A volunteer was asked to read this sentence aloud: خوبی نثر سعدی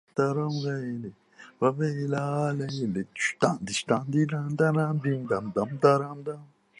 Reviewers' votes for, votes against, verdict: 0, 2, rejected